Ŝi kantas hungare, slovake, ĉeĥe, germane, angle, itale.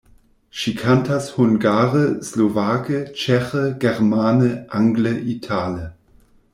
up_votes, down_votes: 2, 0